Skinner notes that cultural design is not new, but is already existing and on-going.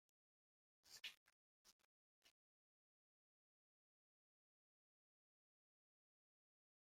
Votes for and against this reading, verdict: 0, 2, rejected